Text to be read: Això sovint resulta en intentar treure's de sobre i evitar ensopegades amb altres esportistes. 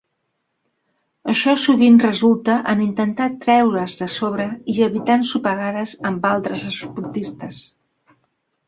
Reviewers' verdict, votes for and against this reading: rejected, 1, 2